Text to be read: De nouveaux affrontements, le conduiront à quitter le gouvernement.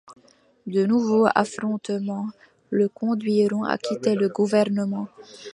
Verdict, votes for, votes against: accepted, 2, 0